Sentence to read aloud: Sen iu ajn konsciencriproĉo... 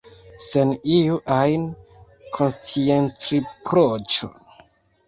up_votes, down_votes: 1, 2